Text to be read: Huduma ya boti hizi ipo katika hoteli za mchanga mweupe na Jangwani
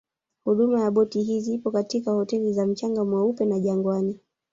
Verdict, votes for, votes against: accepted, 3, 0